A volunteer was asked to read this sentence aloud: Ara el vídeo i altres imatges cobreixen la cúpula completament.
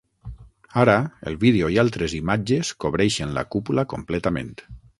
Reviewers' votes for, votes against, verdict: 9, 0, accepted